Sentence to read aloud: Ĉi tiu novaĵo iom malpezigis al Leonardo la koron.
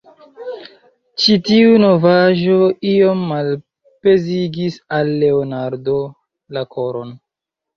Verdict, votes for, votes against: rejected, 1, 2